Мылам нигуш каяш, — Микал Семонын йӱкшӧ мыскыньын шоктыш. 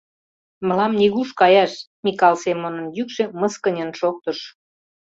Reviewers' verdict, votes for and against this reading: accepted, 2, 0